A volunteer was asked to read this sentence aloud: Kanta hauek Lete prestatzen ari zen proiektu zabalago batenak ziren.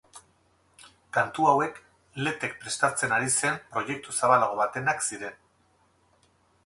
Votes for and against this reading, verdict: 0, 4, rejected